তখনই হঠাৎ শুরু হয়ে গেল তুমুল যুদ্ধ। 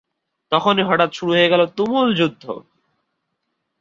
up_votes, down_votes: 4, 0